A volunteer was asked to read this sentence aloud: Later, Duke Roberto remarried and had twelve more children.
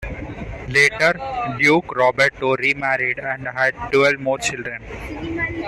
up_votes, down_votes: 2, 0